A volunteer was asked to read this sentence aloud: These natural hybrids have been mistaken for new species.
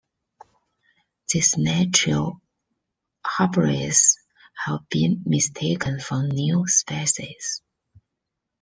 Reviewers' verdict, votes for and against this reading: rejected, 1, 2